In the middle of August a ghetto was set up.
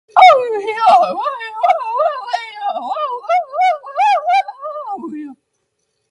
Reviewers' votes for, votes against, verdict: 0, 2, rejected